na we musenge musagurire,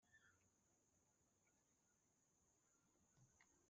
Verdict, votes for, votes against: rejected, 1, 2